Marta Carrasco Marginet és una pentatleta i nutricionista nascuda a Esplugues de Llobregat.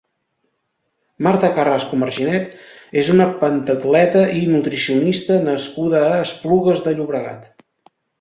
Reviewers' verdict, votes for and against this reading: accepted, 2, 0